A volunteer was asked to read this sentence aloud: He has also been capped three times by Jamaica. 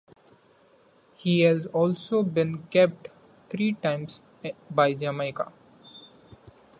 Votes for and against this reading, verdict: 0, 2, rejected